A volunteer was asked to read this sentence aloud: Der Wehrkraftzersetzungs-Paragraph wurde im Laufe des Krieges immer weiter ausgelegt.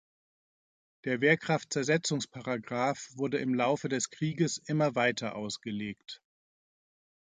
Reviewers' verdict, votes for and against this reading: accepted, 2, 0